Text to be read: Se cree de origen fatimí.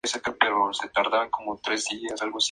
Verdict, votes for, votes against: rejected, 0, 2